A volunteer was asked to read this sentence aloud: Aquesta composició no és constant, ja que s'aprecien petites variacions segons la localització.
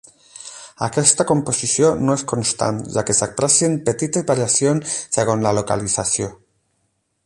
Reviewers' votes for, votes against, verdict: 0, 8, rejected